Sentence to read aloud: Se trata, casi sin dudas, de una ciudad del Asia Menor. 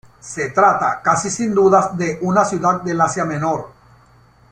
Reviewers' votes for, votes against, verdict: 2, 1, accepted